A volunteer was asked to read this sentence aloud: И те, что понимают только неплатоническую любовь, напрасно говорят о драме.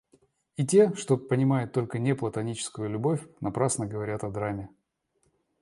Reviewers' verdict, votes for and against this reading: accepted, 2, 0